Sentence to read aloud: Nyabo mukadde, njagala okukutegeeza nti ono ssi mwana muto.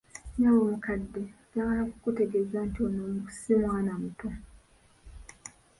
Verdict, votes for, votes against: accepted, 2, 1